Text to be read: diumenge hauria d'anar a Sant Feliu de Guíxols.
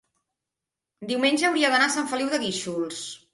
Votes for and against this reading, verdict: 3, 0, accepted